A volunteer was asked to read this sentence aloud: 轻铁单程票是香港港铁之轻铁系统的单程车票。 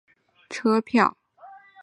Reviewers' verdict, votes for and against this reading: rejected, 1, 6